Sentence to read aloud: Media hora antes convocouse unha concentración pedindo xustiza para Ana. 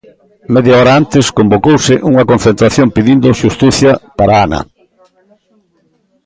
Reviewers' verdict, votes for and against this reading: rejected, 0, 2